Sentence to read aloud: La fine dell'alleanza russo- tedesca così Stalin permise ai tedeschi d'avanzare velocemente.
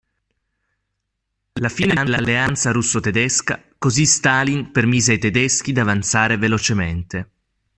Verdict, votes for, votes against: rejected, 1, 2